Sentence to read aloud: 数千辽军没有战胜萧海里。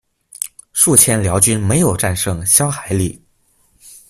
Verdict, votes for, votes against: accepted, 2, 0